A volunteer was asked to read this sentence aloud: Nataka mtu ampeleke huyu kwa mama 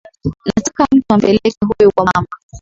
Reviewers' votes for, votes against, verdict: 2, 0, accepted